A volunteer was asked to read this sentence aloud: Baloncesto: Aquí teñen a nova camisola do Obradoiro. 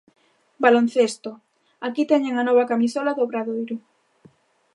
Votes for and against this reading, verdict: 2, 0, accepted